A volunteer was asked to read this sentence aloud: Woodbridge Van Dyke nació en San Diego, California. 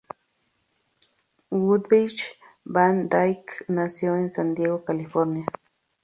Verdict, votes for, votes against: accepted, 2, 0